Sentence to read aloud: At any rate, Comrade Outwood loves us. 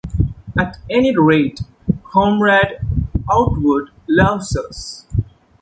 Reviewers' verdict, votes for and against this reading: accepted, 2, 0